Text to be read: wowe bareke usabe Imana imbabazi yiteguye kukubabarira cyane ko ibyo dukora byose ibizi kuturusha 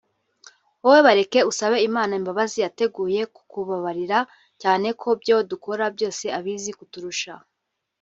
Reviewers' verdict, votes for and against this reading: rejected, 1, 2